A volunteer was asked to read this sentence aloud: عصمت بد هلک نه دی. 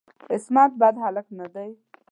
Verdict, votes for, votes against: accepted, 2, 0